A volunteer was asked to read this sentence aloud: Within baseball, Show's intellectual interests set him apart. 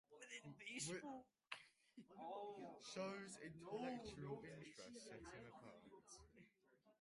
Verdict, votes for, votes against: rejected, 1, 2